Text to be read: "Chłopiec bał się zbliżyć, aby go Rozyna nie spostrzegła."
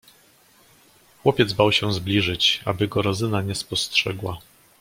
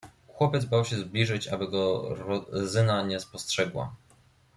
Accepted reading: first